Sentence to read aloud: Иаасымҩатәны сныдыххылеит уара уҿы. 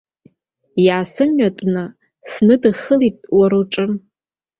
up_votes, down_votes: 0, 2